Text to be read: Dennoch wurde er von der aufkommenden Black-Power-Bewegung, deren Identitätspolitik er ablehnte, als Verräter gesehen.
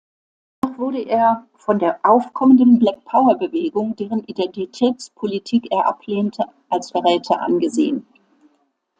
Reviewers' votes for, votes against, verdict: 0, 2, rejected